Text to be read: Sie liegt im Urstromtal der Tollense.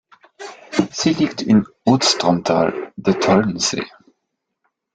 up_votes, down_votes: 1, 2